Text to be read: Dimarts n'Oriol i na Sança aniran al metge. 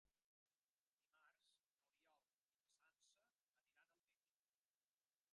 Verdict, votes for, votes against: rejected, 0, 2